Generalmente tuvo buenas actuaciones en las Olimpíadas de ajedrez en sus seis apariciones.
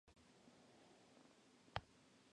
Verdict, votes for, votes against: rejected, 0, 2